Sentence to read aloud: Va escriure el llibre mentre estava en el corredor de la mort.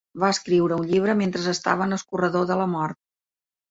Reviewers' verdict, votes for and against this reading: rejected, 1, 2